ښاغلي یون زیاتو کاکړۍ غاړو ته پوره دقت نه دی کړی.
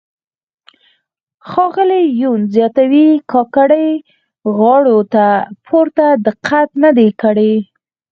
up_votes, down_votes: 2, 4